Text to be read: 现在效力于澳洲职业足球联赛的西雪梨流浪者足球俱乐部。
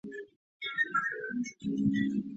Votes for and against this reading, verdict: 0, 4, rejected